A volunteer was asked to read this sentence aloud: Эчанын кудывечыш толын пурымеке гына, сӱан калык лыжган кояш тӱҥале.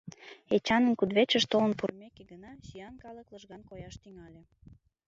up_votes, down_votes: 2, 0